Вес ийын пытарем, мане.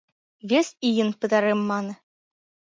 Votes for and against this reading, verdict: 1, 2, rejected